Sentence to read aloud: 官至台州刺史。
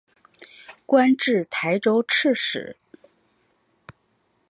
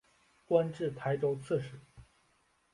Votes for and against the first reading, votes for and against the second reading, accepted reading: 0, 2, 4, 0, second